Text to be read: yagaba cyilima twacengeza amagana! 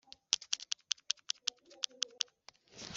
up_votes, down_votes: 0, 2